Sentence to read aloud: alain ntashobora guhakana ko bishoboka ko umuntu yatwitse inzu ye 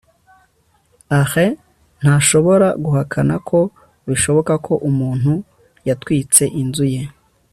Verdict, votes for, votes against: accepted, 2, 1